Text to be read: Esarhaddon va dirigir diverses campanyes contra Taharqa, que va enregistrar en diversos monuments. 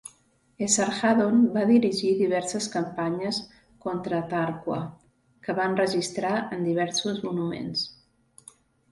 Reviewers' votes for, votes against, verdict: 0, 2, rejected